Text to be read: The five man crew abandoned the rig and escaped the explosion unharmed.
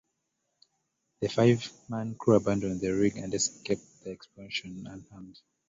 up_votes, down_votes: 1, 2